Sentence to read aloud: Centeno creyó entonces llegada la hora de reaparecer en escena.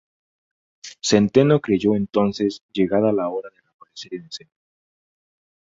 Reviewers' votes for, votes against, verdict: 0, 2, rejected